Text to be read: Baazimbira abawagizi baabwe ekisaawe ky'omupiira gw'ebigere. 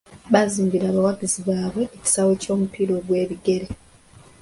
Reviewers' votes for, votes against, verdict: 2, 0, accepted